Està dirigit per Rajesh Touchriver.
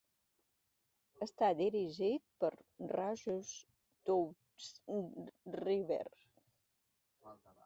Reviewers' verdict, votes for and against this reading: accepted, 2, 1